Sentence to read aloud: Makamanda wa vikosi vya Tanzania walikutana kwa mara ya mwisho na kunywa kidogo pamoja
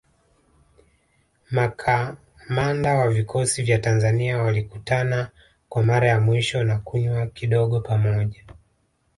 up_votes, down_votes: 2, 0